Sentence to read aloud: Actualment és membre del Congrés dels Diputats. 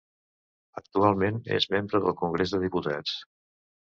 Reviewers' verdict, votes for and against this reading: rejected, 1, 2